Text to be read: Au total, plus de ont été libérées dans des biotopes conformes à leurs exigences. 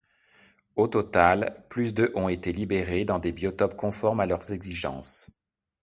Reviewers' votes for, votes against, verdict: 2, 0, accepted